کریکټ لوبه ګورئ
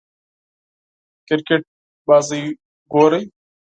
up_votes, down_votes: 4, 0